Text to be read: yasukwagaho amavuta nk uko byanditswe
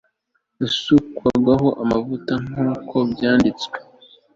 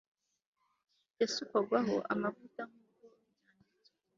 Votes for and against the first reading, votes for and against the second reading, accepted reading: 2, 0, 1, 2, first